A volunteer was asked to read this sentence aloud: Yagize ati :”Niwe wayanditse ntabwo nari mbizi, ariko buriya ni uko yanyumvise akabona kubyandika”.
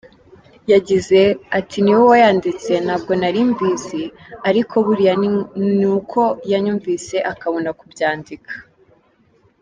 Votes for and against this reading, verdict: 2, 1, accepted